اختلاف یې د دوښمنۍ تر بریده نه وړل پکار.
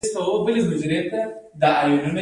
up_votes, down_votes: 0, 2